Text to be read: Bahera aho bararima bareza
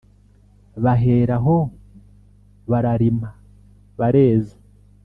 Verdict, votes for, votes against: accepted, 2, 0